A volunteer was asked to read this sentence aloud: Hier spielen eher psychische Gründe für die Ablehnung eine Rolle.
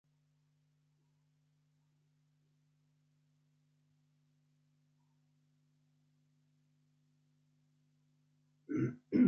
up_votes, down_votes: 0, 2